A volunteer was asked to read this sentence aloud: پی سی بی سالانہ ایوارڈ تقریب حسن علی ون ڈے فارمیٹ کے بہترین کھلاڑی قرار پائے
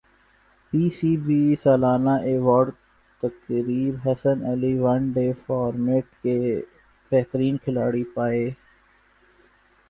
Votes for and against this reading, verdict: 1, 2, rejected